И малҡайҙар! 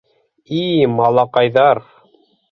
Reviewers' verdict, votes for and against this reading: rejected, 0, 3